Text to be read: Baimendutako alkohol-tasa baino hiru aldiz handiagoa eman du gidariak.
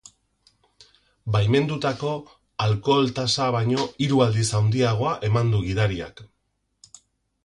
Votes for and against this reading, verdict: 4, 0, accepted